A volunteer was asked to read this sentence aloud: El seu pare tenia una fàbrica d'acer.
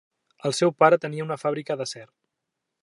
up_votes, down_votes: 4, 0